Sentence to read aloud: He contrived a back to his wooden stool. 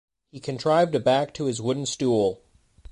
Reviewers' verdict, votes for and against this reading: accepted, 2, 0